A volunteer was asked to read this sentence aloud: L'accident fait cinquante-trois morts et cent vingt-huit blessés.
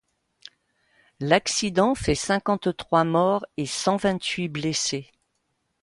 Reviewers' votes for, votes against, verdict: 2, 0, accepted